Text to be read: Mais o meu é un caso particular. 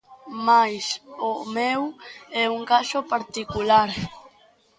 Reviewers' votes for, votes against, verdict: 2, 0, accepted